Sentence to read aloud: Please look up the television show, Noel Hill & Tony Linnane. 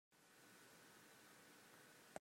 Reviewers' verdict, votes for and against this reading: rejected, 0, 2